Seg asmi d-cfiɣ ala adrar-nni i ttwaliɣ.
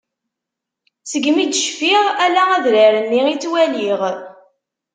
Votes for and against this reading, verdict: 1, 2, rejected